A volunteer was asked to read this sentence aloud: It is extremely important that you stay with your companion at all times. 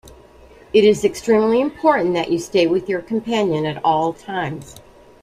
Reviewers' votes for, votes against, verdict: 2, 0, accepted